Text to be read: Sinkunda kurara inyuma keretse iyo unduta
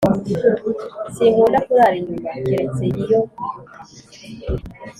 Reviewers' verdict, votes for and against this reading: rejected, 1, 2